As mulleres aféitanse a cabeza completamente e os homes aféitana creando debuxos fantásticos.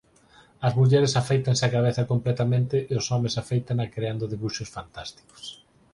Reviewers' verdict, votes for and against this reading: accepted, 4, 0